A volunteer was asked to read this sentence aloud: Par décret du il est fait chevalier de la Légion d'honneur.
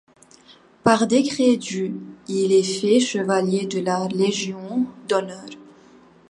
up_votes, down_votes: 1, 2